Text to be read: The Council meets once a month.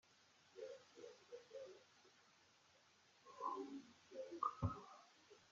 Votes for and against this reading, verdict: 0, 2, rejected